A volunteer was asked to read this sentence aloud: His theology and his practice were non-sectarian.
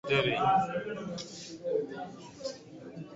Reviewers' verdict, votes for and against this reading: rejected, 0, 2